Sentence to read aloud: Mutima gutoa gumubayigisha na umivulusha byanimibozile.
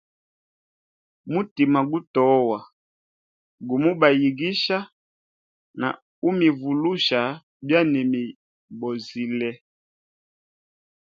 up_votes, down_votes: 2, 0